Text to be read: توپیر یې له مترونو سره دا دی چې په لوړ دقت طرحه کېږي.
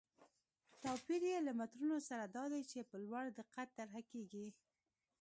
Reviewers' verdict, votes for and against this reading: rejected, 0, 2